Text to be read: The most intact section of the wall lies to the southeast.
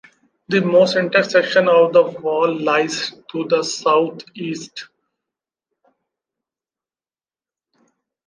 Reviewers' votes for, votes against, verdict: 1, 2, rejected